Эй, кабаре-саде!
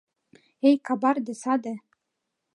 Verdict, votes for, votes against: rejected, 1, 2